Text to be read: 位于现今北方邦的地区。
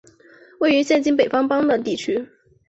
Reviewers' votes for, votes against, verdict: 2, 1, accepted